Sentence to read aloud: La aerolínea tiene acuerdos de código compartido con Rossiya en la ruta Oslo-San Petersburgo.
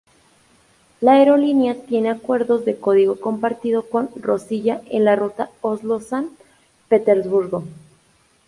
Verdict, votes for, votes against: accepted, 2, 0